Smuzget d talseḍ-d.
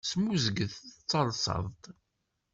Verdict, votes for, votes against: accepted, 2, 1